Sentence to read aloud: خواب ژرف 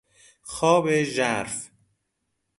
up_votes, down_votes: 2, 0